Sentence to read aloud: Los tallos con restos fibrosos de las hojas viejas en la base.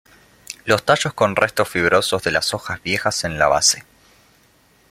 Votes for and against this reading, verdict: 0, 2, rejected